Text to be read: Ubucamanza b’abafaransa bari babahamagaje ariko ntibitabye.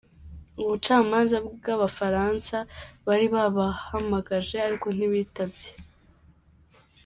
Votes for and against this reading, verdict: 0, 2, rejected